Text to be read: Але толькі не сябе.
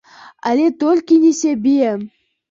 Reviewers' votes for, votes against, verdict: 2, 0, accepted